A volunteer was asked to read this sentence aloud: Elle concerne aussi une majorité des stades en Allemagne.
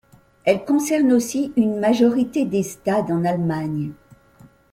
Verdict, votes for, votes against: accepted, 2, 0